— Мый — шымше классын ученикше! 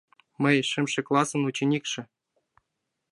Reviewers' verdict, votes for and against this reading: accepted, 2, 0